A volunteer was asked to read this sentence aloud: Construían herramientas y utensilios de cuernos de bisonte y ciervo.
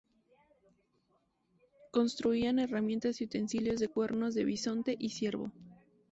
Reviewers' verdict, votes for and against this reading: rejected, 0, 2